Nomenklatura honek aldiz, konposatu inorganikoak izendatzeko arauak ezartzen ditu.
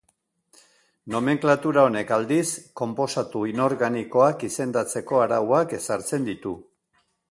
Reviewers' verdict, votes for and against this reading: accepted, 2, 0